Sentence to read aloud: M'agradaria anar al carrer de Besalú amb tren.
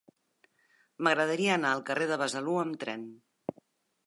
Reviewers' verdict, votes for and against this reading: accepted, 2, 0